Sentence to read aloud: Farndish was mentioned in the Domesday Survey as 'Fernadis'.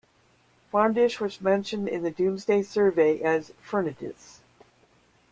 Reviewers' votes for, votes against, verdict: 2, 0, accepted